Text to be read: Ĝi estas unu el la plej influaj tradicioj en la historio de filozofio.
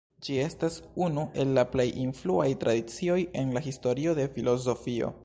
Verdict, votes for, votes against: rejected, 0, 2